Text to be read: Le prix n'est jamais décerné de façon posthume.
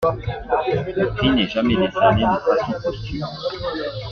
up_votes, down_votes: 1, 2